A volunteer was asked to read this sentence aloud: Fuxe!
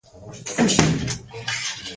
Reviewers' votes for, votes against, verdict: 0, 4, rejected